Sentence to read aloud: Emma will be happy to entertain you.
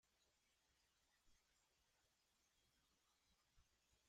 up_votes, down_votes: 0, 2